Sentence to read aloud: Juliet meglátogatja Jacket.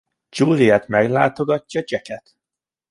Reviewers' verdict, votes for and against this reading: accepted, 2, 0